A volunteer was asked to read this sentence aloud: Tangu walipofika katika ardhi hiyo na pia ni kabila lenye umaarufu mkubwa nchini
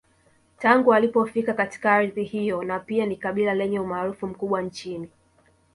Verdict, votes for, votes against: accepted, 3, 1